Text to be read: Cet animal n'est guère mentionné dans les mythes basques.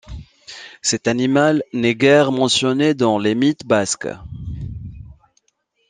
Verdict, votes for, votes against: accepted, 2, 0